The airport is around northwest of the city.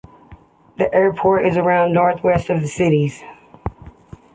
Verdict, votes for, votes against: rejected, 0, 2